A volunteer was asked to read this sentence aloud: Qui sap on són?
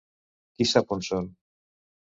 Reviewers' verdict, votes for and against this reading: accepted, 2, 0